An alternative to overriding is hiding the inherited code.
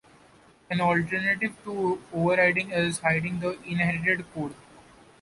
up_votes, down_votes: 2, 0